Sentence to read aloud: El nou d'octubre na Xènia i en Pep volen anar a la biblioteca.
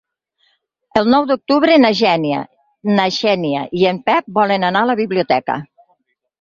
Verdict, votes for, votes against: rejected, 2, 4